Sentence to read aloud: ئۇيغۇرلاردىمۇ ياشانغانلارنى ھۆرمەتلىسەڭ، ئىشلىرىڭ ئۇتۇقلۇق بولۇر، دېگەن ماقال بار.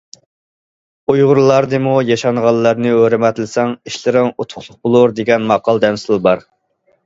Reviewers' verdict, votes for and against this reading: rejected, 1, 2